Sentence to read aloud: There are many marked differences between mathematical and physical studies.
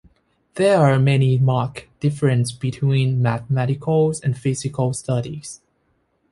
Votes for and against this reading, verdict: 0, 2, rejected